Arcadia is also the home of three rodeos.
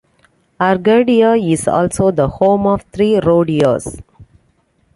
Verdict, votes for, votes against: accepted, 2, 0